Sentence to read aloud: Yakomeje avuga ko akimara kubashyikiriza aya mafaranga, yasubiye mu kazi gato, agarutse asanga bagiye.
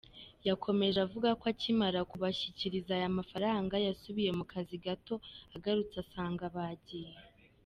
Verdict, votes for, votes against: accepted, 2, 0